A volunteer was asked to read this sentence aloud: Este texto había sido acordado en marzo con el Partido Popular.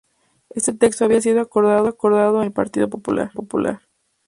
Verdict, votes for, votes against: rejected, 0, 2